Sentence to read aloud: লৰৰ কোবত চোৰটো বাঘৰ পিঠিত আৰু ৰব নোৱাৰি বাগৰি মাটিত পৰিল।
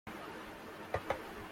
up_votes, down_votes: 0, 2